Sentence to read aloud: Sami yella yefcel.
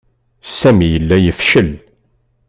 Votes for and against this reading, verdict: 2, 0, accepted